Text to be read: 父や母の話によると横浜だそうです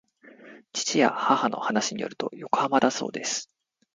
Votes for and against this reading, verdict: 2, 0, accepted